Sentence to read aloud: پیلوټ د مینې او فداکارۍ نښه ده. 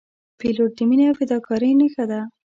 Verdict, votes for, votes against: accepted, 2, 0